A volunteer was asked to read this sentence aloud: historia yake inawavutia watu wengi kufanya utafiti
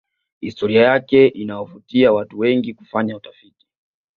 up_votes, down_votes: 2, 0